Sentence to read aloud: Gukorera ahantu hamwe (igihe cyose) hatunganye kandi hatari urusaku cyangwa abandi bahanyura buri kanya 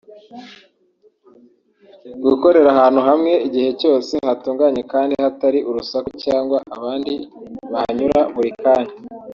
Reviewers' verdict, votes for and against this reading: rejected, 0, 2